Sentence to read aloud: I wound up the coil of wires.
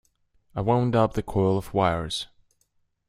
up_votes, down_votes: 2, 0